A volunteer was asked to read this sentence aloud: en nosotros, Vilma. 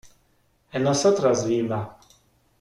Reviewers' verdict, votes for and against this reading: rejected, 1, 2